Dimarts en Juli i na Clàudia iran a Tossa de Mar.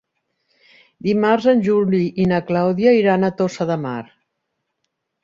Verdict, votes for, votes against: accepted, 3, 1